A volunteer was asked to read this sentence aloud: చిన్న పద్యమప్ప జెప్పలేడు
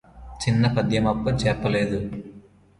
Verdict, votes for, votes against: rejected, 0, 2